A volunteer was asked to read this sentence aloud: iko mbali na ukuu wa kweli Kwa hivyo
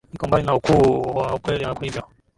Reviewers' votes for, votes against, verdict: 2, 3, rejected